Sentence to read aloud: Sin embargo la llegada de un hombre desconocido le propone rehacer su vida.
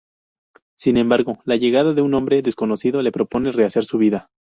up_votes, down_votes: 4, 0